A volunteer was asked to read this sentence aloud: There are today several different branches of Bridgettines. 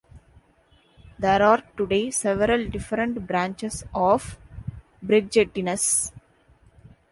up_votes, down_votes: 2, 0